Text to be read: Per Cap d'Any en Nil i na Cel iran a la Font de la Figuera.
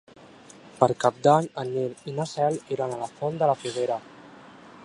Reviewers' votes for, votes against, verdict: 2, 0, accepted